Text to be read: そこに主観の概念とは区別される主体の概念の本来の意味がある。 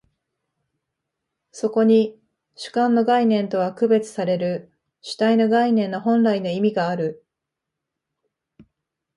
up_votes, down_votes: 2, 0